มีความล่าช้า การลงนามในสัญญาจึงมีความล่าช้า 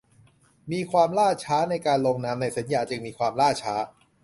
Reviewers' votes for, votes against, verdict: 0, 2, rejected